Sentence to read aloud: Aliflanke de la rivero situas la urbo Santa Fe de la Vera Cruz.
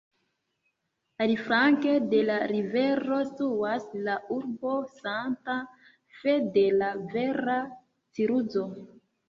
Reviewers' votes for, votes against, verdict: 0, 2, rejected